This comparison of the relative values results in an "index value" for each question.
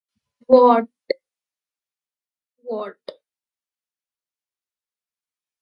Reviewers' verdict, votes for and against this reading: rejected, 1, 2